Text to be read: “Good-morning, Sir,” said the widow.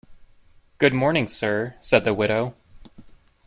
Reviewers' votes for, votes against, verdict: 1, 2, rejected